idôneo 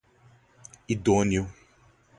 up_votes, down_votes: 4, 0